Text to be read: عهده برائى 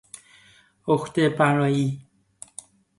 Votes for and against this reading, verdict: 2, 0, accepted